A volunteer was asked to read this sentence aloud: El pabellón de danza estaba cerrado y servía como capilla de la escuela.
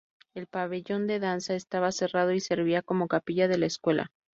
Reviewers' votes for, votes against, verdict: 2, 2, rejected